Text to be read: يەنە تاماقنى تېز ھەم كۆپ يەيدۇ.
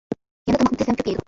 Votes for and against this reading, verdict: 0, 2, rejected